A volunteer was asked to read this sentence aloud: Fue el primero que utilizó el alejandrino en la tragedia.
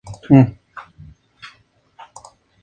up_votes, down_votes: 0, 2